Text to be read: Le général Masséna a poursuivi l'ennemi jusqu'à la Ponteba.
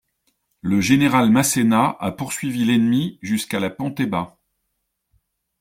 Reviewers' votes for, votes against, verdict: 2, 0, accepted